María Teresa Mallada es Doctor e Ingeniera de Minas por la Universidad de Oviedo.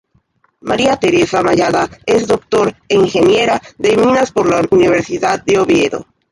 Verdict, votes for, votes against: rejected, 0, 2